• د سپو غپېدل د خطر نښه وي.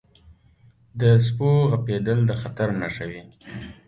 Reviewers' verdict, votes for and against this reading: accepted, 2, 0